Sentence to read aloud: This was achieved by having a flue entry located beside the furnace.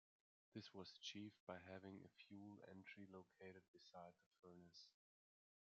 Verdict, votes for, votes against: rejected, 0, 2